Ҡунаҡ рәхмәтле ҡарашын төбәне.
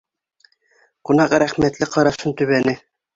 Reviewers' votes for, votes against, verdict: 2, 0, accepted